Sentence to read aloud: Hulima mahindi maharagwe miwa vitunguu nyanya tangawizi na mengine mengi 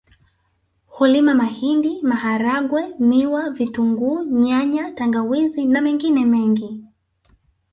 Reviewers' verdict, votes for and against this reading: rejected, 0, 2